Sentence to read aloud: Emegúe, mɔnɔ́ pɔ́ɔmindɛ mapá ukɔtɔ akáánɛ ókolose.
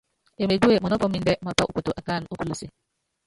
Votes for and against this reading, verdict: 1, 2, rejected